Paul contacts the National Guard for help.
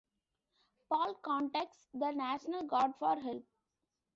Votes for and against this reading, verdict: 2, 1, accepted